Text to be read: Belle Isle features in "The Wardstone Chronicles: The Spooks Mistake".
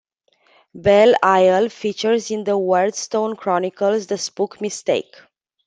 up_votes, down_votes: 1, 2